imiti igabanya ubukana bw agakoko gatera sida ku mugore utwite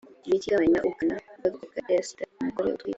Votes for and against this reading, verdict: 0, 2, rejected